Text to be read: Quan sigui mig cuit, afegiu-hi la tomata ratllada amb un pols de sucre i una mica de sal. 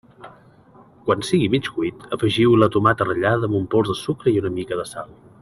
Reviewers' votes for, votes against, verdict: 2, 0, accepted